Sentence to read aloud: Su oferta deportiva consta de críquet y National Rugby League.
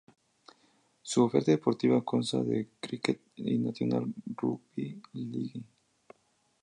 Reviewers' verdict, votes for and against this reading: rejected, 0, 2